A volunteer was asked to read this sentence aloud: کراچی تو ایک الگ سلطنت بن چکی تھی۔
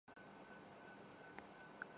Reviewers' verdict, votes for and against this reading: rejected, 0, 2